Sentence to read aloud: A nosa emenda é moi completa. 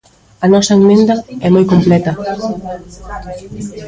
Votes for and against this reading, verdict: 1, 2, rejected